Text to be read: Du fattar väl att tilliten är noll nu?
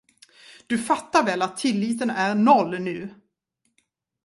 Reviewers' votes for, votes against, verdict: 2, 0, accepted